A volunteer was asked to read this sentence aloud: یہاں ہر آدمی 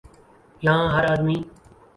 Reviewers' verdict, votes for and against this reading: rejected, 0, 2